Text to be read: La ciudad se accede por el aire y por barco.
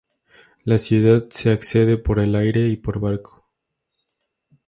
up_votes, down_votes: 2, 0